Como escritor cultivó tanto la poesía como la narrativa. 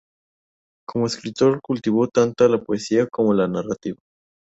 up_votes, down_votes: 2, 2